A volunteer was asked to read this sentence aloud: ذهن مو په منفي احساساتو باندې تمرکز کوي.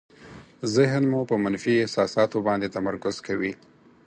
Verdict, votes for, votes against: accepted, 4, 0